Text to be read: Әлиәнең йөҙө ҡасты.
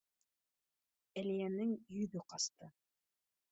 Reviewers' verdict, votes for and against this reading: rejected, 1, 2